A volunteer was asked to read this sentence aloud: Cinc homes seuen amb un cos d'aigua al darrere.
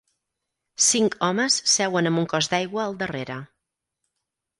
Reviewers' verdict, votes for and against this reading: accepted, 4, 0